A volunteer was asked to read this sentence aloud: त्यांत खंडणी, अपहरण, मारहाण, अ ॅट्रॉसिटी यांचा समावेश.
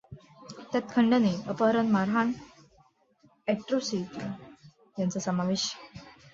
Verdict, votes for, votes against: rejected, 1, 2